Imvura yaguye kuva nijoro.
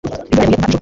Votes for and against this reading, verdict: 0, 2, rejected